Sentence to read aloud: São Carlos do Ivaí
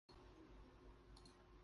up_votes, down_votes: 0, 2